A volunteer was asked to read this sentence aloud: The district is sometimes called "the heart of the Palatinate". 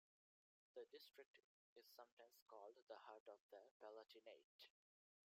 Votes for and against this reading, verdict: 1, 2, rejected